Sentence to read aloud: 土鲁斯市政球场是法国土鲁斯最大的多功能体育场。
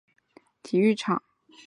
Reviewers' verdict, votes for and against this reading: rejected, 0, 2